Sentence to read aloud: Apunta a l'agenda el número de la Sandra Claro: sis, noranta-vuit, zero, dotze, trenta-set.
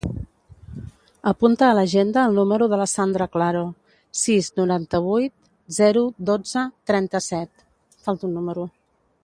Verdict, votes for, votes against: rejected, 0, 2